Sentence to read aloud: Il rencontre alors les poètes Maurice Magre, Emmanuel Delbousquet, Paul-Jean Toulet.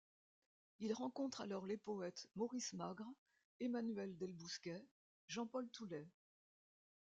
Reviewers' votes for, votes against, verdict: 0, 2, rejected